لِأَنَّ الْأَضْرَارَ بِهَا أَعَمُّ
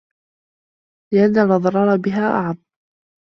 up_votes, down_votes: 2, 0